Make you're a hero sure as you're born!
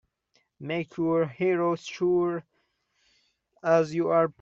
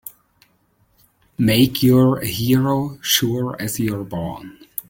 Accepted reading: second